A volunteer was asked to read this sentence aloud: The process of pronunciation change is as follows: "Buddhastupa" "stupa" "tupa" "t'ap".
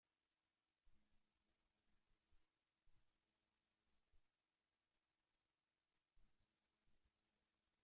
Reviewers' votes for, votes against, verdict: 0, 2, rejected